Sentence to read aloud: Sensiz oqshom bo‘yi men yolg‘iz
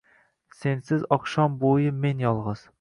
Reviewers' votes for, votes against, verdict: 1, 2, rejected